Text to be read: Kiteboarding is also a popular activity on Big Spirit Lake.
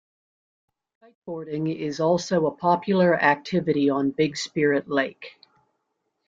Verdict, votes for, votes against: rejected, 1, 2